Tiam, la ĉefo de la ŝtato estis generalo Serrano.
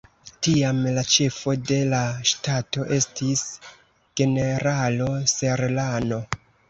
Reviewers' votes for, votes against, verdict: 1, 2, rejected